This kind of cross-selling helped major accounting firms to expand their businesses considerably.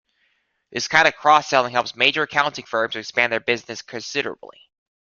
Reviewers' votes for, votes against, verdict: 2, 0, accepted